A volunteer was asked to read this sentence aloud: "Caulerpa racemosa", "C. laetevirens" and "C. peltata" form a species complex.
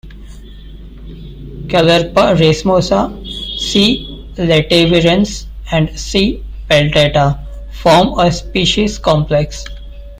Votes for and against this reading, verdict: 1, 2, rejected